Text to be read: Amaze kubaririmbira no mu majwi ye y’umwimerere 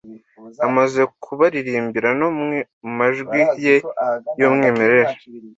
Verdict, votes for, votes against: rejected, 1, 2